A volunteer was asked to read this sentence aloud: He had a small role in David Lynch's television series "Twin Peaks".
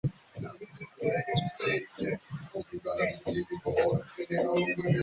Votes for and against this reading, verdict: 0, 2, rejected